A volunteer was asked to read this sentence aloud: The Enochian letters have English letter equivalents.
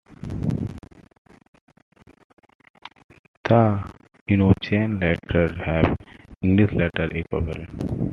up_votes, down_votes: 0, 2